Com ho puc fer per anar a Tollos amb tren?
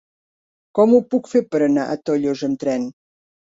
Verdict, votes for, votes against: accepted, 2, 0